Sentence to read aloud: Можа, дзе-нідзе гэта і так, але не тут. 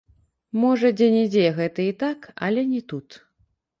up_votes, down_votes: 1, 2